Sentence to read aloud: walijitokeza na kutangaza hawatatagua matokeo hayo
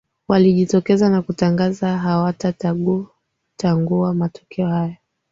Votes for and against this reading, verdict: 4, 1, accepted